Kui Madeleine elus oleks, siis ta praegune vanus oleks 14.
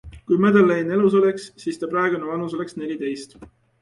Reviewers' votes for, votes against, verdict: 0, 2, rejected